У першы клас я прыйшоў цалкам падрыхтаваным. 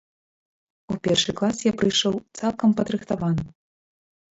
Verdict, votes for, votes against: rejected, 0, 2